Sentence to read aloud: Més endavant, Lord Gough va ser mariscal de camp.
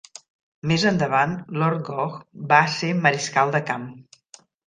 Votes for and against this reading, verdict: 1, 2, rejected